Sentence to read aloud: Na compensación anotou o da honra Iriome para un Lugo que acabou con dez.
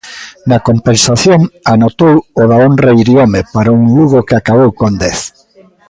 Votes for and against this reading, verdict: 0, 2, rejected